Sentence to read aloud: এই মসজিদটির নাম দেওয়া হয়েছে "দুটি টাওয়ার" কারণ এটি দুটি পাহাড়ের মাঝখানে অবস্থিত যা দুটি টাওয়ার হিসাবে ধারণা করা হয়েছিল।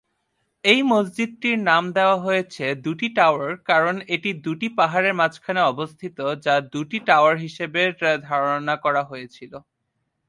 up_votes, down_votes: 1, 2